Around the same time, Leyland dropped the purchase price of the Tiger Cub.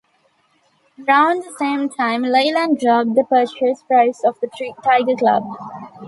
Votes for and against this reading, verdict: 1, 3, rejected